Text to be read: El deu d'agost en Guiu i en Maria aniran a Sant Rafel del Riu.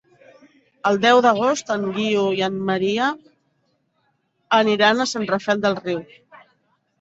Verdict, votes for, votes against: accepted, 3, 0